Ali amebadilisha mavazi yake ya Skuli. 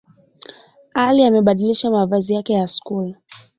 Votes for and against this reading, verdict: 2, 0, accepted